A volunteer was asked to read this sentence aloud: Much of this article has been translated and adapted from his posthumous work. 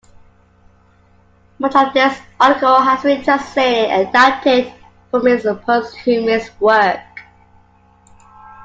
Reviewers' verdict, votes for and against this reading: rejected, 0, 2